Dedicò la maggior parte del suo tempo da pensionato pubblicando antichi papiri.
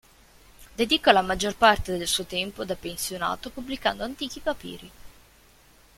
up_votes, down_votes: 2, 0